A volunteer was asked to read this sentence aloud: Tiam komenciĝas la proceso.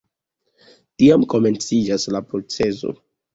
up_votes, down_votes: 2, 0